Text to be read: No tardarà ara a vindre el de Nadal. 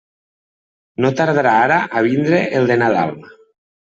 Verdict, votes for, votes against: accepted, 2, 0